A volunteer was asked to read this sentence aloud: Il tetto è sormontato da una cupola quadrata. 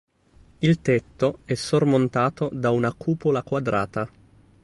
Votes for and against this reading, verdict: 2, 0, accepted